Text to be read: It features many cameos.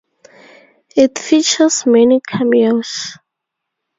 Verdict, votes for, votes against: accepted, 2, 0